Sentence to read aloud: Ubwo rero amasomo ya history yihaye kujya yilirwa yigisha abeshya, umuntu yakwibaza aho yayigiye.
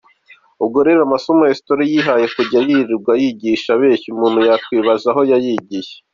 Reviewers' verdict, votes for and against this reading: accepted, 2, 1